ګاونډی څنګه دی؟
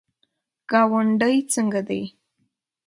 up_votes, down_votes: 2, 0